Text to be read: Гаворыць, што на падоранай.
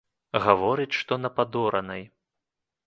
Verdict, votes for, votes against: accepted, 2, 0